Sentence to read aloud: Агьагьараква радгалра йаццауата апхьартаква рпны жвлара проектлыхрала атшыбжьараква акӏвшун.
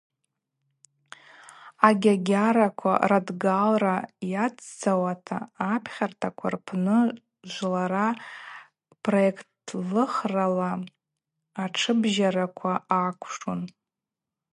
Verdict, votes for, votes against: rejected, 2, 2